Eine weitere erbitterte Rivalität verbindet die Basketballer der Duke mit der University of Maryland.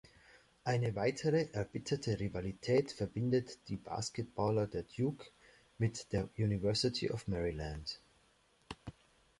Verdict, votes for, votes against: accepted, 3, 0